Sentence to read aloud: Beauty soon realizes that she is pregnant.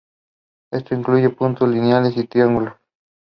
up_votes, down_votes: 0, 2